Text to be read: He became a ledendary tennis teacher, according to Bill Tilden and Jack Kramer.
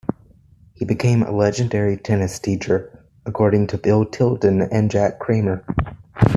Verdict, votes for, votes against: rejected, 1, 2